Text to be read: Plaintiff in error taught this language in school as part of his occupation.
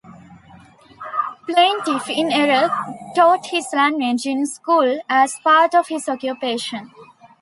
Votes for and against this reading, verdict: 2, 0, accepted